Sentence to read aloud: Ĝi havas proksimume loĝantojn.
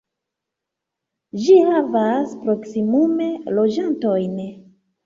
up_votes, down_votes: 2, 1